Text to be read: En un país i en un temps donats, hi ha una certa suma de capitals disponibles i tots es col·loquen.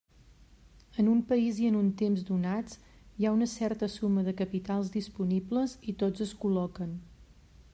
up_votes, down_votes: 3, 0